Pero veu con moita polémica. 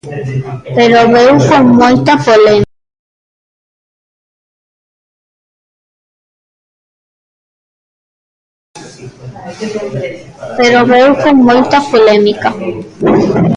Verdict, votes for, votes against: rejected, 0, 2